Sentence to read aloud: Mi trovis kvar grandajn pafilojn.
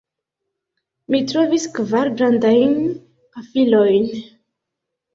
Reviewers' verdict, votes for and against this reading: accepted, 2, 0